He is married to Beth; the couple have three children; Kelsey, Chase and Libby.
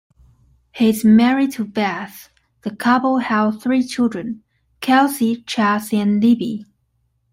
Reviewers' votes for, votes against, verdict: 0, 2, rejected